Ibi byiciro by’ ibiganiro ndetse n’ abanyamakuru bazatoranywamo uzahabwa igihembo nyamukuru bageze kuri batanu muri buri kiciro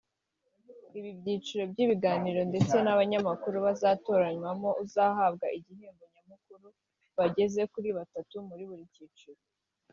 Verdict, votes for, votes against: rejected, 2, 4